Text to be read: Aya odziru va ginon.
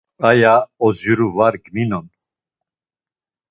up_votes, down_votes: 1, 2